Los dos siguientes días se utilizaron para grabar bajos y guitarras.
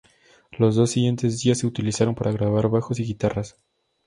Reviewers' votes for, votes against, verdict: 2, 0, accepted